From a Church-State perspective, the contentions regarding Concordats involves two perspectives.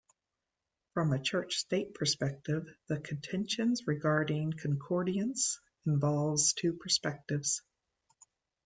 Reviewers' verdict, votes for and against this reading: rejected, 1, 2